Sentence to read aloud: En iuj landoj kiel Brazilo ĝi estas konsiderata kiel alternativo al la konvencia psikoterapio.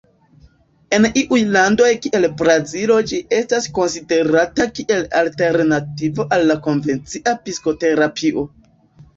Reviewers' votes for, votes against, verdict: 0, 2, rejected